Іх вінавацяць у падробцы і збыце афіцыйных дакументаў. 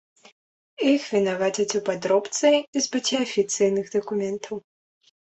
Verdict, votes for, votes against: accepted, 2, 1